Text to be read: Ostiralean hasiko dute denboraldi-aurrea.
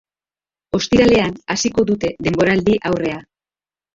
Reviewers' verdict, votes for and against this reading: accepted, 2, 0